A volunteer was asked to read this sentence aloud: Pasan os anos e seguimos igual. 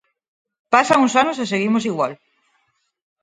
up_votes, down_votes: 4, 0